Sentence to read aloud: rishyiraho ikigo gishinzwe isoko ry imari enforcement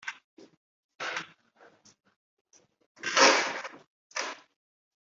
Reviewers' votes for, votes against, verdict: 1, 2, rejected